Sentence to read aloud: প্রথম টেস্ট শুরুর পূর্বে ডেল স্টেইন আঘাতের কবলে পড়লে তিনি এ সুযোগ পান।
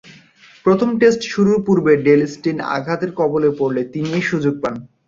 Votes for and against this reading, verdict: 1, 2, rejected